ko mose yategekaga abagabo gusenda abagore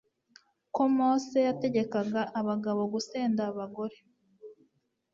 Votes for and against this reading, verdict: 2, 0, accepted